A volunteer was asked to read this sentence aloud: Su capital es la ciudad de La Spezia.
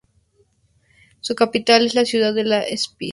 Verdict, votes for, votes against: rejected, 0, 2